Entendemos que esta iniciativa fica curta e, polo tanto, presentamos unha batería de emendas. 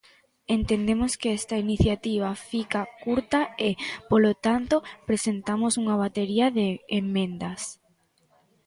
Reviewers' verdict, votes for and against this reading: accepted, 2, 1